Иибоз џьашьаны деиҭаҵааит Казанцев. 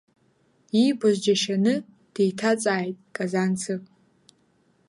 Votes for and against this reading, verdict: 2, 0, accepted